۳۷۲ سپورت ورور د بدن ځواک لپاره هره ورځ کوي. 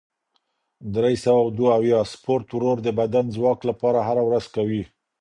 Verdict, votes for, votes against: rejected, 0, 2